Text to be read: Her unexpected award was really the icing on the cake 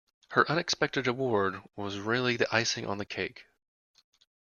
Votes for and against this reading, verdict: 2, 0, accepted